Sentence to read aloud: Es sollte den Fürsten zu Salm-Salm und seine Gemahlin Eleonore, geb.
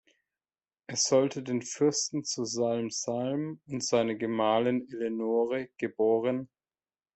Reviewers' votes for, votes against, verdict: 0, 2, rejected